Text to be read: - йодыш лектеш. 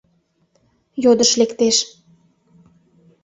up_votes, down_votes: 2, 0